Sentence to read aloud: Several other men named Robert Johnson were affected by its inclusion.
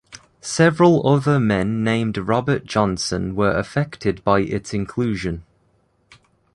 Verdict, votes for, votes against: accepted, 2, 0